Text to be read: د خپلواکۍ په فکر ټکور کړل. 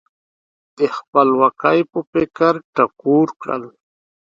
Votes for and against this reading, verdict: 2, 0, accepted